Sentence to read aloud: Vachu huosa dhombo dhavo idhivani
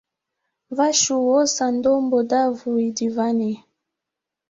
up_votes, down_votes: 2, 0